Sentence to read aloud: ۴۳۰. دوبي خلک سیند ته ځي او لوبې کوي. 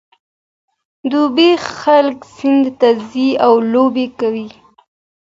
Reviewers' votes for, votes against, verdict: 0, 2, rejected